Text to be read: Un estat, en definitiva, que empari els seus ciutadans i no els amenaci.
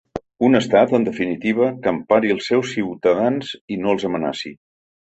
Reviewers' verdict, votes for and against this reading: accepted, 3, 0